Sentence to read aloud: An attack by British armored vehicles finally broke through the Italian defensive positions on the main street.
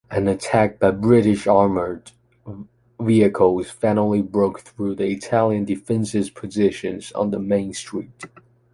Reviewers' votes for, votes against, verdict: 1, 2, rejected